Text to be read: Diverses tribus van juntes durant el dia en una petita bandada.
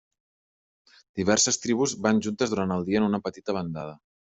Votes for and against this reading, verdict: 3, 0, accepted